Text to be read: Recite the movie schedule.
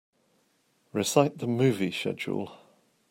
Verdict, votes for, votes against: rejected, 0, 2